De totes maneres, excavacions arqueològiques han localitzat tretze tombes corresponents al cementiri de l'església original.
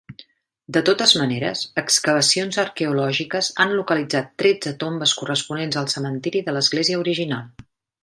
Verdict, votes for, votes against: accepted, 3, 0